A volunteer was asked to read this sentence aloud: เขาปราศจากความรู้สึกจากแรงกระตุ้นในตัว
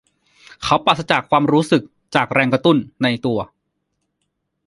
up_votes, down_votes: 2, 1